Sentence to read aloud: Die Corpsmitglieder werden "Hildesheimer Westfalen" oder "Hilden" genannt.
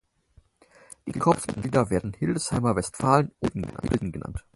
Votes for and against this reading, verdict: 0, 4, rejected